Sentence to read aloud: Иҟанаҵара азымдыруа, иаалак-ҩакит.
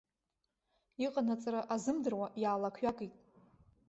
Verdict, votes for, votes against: rejected, 1, 2